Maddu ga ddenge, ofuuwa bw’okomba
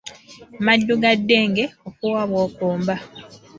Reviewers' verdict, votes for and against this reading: accepted, 2, 1